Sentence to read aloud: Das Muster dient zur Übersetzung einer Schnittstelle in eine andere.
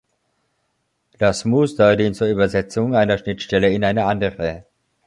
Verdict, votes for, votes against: accepted, 2, 0